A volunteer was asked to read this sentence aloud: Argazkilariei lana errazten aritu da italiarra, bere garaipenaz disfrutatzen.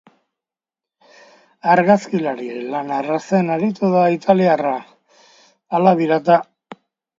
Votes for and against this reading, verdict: 0, 2, rejected